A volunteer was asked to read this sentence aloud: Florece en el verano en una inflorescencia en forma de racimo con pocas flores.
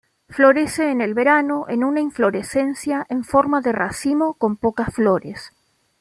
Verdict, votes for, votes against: accepted, 2, 0